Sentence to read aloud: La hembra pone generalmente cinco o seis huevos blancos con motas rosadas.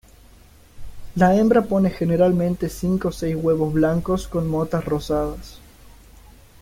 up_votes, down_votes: 0, 2